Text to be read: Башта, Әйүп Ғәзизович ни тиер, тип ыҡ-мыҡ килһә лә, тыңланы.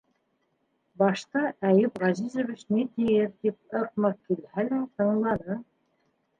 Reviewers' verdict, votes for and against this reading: accepted, 3, 1